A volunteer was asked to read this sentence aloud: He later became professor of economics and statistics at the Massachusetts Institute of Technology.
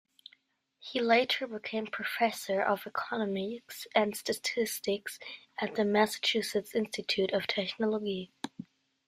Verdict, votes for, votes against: accepted, 2, 1